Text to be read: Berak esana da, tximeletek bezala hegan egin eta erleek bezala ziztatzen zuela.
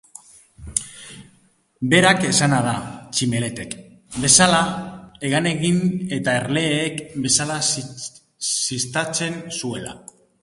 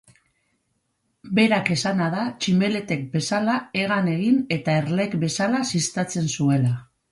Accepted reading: second